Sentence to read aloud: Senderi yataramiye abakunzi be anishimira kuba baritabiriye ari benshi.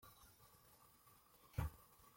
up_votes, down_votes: 0, 2